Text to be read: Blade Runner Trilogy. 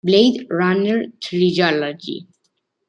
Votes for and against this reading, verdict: 1, 2, rejected